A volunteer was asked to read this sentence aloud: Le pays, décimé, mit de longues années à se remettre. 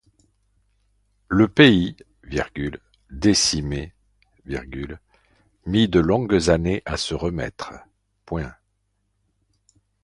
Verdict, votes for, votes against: rejected, 0, 2